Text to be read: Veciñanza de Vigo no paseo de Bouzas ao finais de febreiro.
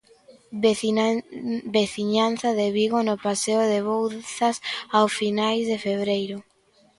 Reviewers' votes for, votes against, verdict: 0, 2, rejected